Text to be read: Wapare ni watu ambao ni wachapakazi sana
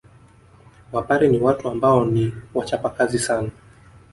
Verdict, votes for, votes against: rejected, 1, 2